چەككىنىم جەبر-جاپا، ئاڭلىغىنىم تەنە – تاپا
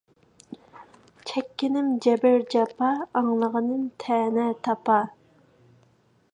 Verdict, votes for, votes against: accepted, 2, 0